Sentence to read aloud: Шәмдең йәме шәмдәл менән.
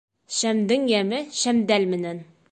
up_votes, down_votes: 3, 0